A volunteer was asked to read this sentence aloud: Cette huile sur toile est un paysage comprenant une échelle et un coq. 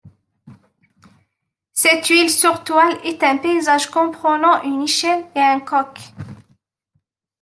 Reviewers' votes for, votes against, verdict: 2, 1, accepted